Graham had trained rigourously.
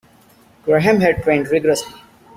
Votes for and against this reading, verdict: 2, 1, accepted